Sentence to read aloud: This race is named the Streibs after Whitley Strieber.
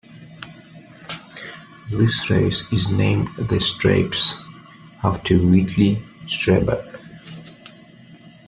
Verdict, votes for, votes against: accepted, 2, 0